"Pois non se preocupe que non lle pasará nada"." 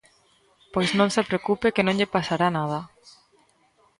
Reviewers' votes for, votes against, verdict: 2, 0, accepted